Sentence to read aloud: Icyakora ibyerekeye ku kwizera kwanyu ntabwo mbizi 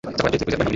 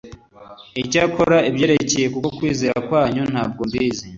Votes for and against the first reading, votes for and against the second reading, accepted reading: 1, 2, 3, 0, second